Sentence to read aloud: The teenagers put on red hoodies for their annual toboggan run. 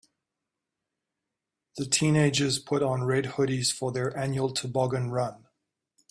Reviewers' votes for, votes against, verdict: 2, 0, accepted